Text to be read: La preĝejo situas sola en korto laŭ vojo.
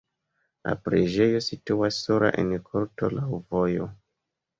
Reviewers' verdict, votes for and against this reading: accepted, 2, 0